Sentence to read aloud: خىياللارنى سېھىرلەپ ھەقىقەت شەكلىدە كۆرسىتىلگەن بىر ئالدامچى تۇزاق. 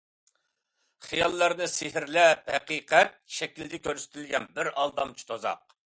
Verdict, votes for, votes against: accepted, 2, 0